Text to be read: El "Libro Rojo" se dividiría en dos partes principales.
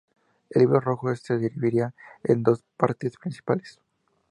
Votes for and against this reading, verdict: 2, 0, accepted